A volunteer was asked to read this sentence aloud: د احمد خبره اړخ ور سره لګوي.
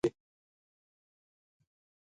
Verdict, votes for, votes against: rejected, 0, 2